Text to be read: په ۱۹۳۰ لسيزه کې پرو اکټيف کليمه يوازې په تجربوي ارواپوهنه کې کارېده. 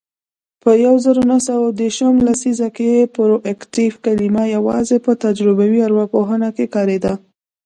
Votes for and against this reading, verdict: 0, 2, rejected